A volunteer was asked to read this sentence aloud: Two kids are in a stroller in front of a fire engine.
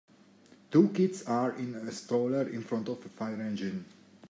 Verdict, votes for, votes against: rejected, 1, 2